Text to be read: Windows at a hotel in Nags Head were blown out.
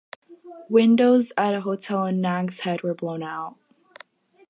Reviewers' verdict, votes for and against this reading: accepted, 4, 0